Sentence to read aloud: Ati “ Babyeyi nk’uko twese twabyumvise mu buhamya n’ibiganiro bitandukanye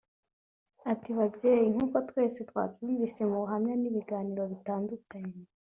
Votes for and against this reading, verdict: 2, 0, accepted